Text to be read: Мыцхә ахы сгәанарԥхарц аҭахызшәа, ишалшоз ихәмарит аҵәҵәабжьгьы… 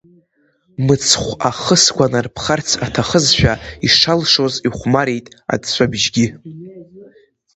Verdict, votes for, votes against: accepted, 2, 0